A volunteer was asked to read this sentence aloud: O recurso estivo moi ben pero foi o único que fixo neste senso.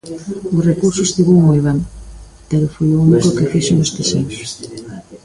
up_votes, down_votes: 2, 0